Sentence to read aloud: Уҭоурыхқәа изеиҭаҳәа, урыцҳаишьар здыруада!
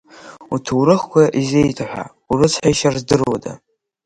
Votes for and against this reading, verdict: 7, 2, accepted